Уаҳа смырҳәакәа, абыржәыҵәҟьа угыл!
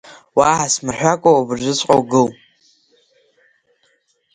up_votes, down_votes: 5, 2